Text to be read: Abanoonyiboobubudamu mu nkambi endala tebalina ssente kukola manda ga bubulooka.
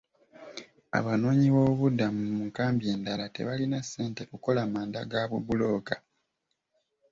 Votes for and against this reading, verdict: 2, 0, accepted